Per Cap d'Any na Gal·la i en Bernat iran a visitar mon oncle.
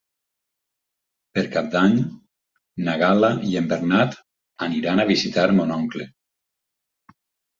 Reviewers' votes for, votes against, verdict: 2, 4, rejected